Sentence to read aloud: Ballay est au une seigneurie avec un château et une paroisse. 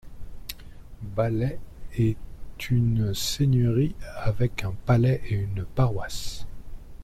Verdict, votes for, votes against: rejected, 1, 2